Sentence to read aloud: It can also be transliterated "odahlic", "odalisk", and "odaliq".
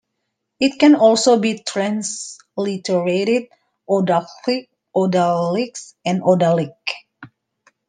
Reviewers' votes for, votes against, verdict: 1, 2, rejected